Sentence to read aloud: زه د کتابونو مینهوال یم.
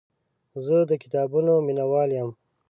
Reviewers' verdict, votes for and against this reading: accepted, 2, 0